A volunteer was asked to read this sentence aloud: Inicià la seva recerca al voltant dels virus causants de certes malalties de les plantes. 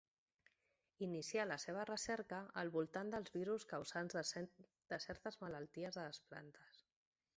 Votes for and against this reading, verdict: 0, 2, rejected